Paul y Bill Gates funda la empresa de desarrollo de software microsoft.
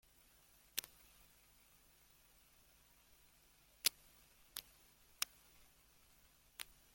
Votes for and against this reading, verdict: 0, 3, rejected